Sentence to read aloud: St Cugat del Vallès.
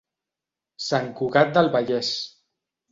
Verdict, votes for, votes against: accepted, 2, 0